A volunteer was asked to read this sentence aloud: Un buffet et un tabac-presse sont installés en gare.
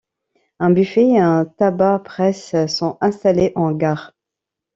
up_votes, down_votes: 2, 0